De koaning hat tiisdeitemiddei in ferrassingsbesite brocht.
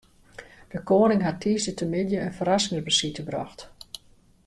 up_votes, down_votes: 2, 0